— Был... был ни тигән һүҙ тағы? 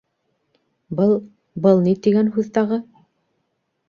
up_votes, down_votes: 2, 0